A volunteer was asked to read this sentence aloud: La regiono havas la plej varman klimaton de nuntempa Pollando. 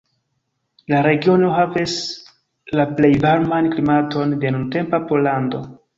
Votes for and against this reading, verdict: 0, 3, rejected